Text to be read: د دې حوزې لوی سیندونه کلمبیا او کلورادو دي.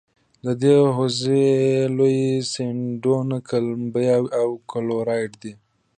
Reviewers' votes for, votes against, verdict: 2, 0, accepted